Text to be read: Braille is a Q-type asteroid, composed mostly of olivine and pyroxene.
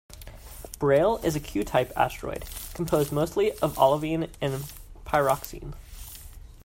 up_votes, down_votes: 2, 0